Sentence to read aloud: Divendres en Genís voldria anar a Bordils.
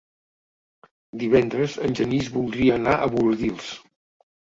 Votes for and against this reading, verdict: 3, 0, accepted